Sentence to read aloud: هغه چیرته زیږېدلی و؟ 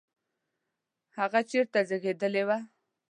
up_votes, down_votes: 1, 2